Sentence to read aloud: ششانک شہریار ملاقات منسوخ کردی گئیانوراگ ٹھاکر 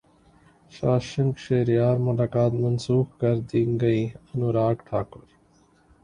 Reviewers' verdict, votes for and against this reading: rejected, 1, 3